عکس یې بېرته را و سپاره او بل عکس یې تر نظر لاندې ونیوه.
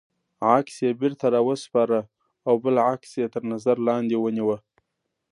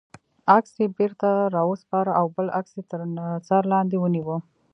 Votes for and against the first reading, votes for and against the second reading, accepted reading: 2, 0, 1, 2, first